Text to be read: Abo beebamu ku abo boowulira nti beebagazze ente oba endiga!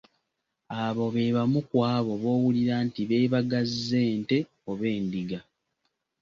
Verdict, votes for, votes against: accepted, 2, 0